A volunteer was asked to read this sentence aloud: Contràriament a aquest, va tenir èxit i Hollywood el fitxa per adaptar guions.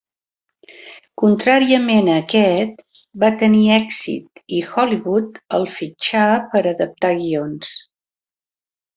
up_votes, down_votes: 1, 2